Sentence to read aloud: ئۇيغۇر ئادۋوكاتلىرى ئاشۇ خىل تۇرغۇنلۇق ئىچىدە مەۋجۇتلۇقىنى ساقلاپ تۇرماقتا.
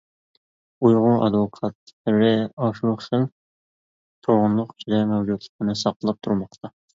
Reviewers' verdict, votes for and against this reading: rejected, 1, 2